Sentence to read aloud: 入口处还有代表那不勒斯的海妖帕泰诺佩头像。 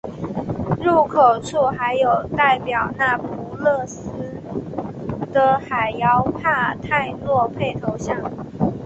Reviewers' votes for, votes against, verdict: 3, 1, accepted